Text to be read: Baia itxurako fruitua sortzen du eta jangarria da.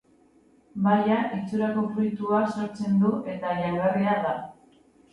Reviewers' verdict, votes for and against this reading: accepted, 2, 1